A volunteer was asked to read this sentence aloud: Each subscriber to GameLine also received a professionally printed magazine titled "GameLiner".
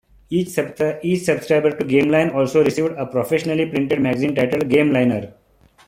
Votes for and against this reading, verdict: 1, 2, rejected